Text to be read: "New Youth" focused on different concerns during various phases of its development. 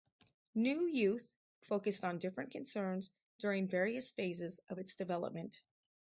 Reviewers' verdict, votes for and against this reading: accepted, 2, 0